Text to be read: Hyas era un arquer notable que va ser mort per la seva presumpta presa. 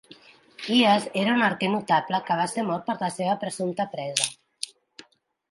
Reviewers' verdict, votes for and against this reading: accepted, 2, 0